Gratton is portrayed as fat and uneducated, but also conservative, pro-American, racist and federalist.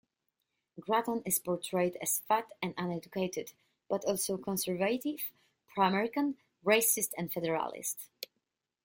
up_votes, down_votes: 1, 2